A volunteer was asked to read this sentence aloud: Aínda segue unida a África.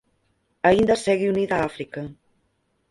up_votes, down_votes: 2, 4